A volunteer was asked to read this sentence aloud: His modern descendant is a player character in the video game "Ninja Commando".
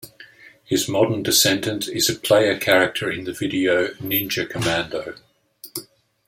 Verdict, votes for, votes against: rejected, 0, 2